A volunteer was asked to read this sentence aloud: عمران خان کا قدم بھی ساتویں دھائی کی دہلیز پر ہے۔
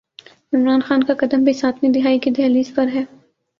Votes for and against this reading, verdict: 13, 0, accepted